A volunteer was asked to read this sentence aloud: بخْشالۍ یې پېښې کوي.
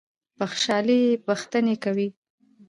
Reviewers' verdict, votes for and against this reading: rejected, 1, 2